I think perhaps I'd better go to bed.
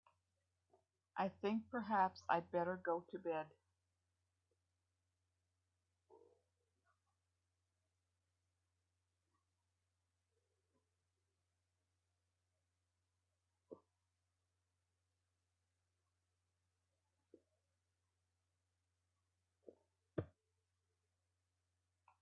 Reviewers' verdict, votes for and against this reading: rejected, 1, 2